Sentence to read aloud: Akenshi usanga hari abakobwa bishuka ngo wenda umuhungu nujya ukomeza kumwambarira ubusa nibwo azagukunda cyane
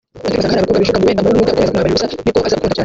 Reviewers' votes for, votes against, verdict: 0, 2, rejected